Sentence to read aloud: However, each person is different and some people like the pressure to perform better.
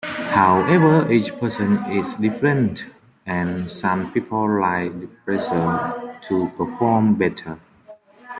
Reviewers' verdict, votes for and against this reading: accepted, 2, 1